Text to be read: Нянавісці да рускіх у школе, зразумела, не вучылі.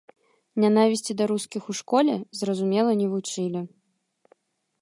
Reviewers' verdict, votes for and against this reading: accepted, 2, 0